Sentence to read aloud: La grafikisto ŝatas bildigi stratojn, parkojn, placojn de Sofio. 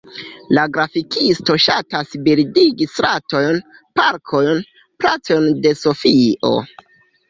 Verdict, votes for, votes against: rejected, 0, 2